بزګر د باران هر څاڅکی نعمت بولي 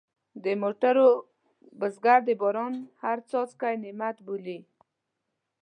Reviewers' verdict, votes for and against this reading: rejected, 1, 2